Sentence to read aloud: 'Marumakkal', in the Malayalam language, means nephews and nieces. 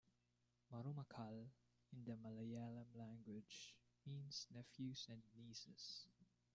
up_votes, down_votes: 1, 2